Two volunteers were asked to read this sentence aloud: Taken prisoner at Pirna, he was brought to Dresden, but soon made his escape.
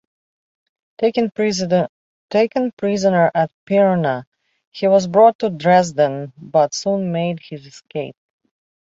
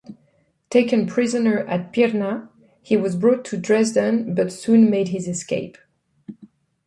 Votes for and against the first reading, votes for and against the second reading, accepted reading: 0, 2, 2, 0, second